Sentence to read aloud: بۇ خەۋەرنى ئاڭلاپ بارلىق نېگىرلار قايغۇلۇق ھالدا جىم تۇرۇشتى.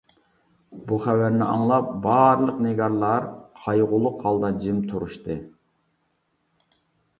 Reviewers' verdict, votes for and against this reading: rejected, 0, 2